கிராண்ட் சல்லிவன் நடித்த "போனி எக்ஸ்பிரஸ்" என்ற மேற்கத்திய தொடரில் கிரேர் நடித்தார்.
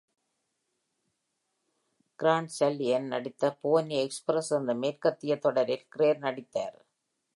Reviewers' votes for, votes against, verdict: 1, 2, rejected